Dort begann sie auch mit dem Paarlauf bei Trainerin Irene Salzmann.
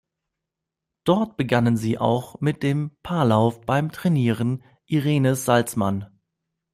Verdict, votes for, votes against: rejected, 1, 2